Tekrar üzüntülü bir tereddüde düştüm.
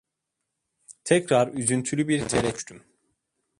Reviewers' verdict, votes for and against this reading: rejected, 0, 2